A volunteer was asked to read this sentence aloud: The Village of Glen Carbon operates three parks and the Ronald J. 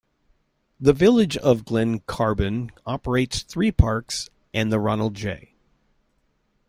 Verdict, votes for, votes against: accepted, 2, 0